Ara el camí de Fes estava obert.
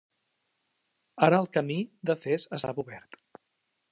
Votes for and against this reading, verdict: 2, 0, accepted